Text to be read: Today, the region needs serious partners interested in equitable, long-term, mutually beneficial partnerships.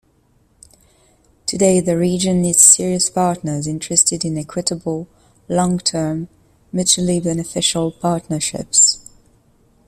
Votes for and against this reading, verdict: 2, 0, accepted